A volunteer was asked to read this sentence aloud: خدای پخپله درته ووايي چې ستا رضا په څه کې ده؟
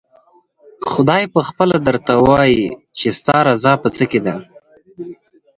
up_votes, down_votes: 4, 2